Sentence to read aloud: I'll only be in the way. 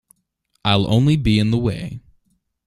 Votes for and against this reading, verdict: 2, 0, accepted